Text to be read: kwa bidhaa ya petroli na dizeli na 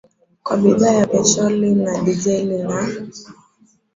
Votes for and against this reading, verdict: 2, 0, accepted